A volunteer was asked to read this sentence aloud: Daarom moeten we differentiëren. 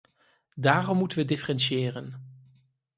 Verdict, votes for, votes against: accepted, 4, 0